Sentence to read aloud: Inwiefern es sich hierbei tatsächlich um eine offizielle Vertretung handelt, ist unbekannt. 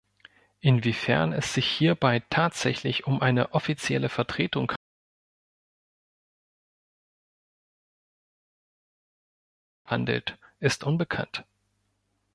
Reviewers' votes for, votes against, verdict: 0, 2, rejected